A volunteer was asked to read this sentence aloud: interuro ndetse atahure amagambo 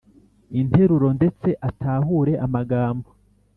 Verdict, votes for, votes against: accepted, 2, 0